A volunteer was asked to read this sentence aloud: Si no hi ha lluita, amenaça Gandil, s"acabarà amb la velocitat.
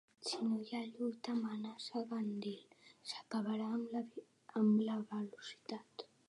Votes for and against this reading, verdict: 0, 2, rejected